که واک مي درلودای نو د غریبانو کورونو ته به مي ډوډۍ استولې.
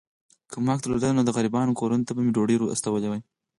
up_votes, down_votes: 0, 4